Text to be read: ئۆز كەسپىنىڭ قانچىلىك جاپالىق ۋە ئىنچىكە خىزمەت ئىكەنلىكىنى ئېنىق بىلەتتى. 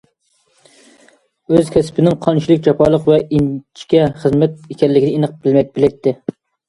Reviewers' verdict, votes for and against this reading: rejected, 0, 2